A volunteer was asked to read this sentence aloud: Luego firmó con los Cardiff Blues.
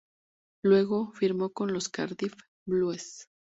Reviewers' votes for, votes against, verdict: 2, 0, accepted